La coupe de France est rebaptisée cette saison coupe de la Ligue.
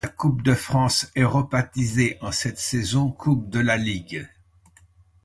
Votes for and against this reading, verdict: 1, 2, rejected